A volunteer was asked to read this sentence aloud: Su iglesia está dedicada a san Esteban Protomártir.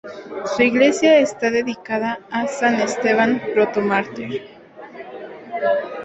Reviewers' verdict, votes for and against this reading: rejected, 0, 2